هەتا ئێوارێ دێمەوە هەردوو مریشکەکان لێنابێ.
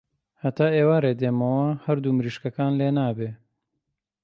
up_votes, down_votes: 3, 0